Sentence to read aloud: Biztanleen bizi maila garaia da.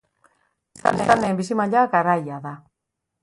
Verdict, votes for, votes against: rejected, 1, 4